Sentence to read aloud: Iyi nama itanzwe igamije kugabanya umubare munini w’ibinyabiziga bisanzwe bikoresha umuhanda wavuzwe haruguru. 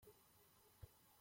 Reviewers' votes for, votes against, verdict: 0, 2, rejected